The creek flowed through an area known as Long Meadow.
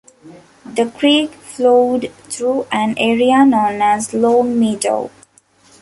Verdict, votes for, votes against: accepted, 2, 0